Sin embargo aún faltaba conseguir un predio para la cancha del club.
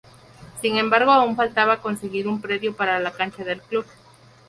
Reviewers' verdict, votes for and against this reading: accepted, 4, 0